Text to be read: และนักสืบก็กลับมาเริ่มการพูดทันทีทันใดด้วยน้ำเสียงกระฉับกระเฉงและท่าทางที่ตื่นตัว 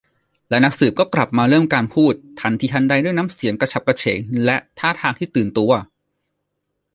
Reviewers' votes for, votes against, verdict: 2, 0, accepted